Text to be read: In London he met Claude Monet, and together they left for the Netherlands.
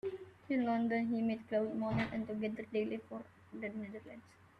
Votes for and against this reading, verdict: 0, 2, rejected